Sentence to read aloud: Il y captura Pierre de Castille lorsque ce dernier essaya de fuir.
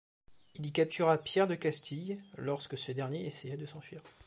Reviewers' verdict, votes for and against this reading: rejected, 1, 3